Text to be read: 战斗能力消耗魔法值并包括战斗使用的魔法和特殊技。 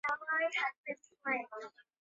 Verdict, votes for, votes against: rejected, 0, 3